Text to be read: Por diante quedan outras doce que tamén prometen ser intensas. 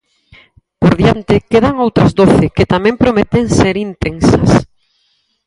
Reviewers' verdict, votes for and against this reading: accepted, 4, 0